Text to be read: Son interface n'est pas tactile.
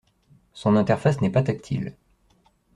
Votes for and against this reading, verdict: 2, 0, accepted